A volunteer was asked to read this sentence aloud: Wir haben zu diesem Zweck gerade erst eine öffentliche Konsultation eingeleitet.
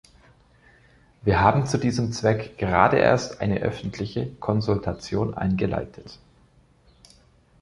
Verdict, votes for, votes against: accepted, 2, 0